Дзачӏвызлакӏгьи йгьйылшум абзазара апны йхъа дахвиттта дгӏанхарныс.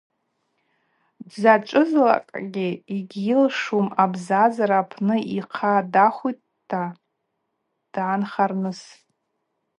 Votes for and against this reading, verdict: 2, 2, rejected